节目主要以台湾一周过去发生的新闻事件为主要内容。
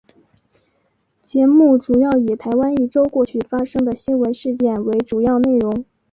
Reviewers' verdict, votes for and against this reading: accepted, 9, 0